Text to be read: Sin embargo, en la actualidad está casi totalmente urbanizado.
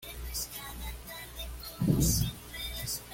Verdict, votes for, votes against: rejected, 1, 2